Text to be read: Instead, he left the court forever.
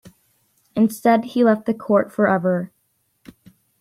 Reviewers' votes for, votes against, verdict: 2, 0, accepted